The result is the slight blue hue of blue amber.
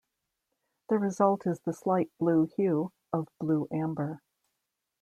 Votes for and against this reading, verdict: 2, 0, accepted